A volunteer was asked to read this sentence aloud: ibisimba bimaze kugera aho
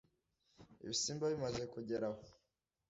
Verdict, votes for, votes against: accepted, 2, 1